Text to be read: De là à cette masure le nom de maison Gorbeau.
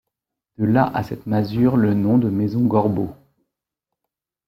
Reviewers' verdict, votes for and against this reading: accepted, 2, 1